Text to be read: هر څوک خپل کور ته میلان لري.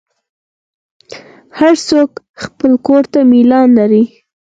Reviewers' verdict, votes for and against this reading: accepted, 6, 0